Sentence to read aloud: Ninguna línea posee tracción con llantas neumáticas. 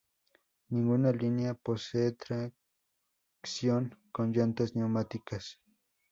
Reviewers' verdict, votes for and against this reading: rejected, 2, 2